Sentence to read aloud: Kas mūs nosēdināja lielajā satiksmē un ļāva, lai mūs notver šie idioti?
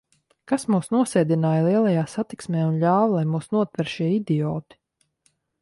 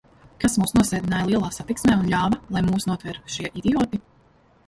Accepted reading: first